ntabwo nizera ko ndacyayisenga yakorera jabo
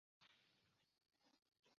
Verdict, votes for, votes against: rejected, 0, 2